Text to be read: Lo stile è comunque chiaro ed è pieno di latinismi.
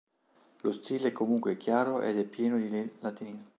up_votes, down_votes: 0, 2